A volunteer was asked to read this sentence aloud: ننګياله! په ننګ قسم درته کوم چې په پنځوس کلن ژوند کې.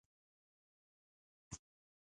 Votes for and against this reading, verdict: 0, 2, rejected